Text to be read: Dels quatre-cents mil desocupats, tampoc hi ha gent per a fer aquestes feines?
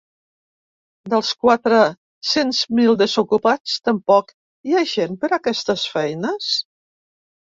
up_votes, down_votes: 0, 2